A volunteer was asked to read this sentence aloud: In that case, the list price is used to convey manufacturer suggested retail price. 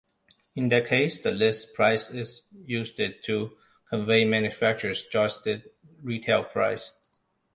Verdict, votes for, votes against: rejected, 1, 2